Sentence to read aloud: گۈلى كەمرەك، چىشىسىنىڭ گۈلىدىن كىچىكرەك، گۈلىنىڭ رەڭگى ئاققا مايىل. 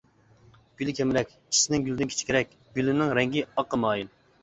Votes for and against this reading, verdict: 2, 1, accepted